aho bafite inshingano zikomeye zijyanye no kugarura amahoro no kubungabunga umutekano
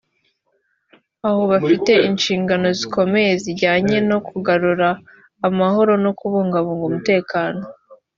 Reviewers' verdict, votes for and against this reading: accepted, 2, 0